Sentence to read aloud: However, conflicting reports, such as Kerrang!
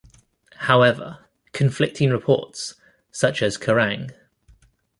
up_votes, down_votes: 2, 0